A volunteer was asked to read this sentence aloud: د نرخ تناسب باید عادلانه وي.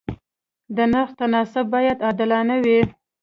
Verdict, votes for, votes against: accepted, 2, 0